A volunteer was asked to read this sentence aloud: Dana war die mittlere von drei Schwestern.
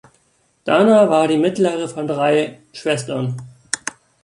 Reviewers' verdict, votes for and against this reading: accepted, 2, 0